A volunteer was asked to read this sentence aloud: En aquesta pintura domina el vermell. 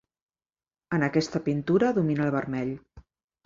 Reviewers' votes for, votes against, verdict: 3, 0, accepted